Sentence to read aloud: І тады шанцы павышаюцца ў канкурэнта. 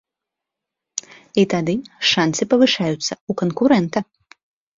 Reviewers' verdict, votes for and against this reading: accepted, 2, 0